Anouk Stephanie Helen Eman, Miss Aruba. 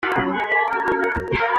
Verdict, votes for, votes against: rejected, 0, 2